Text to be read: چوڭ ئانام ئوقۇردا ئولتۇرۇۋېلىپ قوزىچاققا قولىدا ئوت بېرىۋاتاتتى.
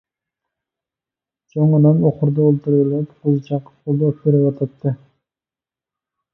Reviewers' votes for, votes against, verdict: 2, 1, accepted